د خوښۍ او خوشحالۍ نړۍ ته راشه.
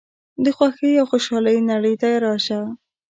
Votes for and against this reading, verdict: 1, 2, rejected